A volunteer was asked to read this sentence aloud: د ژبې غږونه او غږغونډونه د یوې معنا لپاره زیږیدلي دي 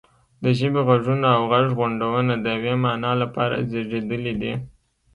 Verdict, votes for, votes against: accepted, 2, 0